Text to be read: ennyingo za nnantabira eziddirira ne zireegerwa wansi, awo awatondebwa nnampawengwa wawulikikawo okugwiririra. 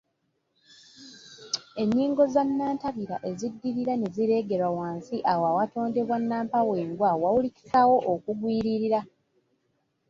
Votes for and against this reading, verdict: 1, 2, rejected